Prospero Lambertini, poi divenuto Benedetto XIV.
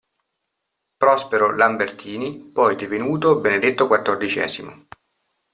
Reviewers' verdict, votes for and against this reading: accepted, 2, 0